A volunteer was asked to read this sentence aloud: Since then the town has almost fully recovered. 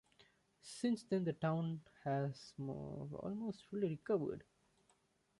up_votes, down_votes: 0, 2